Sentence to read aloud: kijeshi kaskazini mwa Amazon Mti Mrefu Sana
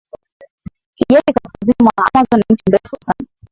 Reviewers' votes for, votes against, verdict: 1, 2, rejected